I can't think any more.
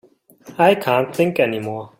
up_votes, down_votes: 2, 0